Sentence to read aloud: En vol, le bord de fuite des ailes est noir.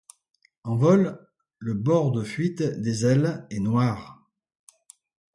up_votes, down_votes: 2, 1